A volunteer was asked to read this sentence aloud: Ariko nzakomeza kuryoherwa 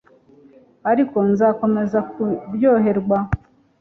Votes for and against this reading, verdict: 2, 0, accepted